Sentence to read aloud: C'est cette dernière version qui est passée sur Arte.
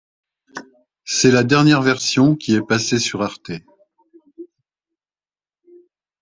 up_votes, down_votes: 2, 4